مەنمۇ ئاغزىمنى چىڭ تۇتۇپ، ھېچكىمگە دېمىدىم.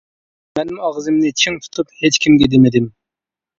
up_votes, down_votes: 2, 0